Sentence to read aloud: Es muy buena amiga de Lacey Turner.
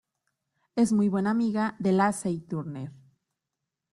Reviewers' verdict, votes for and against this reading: accepted, 2, 0